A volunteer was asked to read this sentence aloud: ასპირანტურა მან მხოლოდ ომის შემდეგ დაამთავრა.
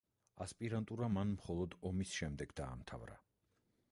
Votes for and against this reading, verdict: 2, 0, accepted